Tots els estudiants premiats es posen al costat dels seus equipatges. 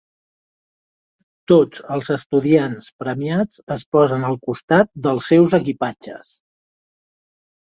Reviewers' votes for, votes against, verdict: 2, 0, accepted